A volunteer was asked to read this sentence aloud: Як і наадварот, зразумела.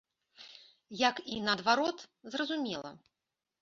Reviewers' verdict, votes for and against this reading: accepted, 2, 0